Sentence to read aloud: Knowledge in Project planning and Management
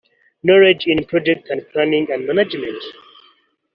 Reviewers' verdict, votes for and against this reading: rejected, 1, 2